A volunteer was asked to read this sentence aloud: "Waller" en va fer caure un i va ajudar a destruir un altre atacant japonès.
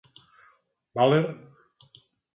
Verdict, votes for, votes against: rejected, 0, 4